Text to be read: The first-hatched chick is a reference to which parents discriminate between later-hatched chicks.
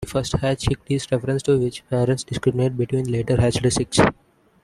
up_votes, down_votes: 0, 2